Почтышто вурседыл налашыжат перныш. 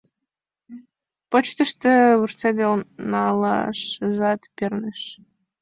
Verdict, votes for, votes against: accepted, 2, 0